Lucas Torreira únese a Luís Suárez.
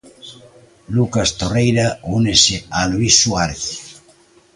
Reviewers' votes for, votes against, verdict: 2, 0, accepted